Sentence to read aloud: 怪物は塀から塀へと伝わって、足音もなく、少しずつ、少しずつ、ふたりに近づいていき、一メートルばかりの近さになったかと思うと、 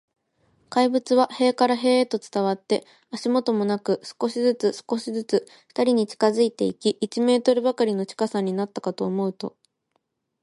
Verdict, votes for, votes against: accepted, 2, 0